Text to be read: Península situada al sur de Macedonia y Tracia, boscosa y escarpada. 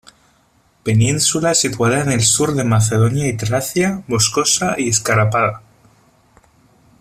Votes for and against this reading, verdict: 1, 2, rejected